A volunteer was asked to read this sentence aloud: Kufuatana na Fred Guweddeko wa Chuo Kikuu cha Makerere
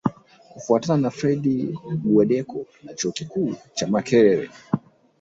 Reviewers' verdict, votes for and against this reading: rejected, 0, 2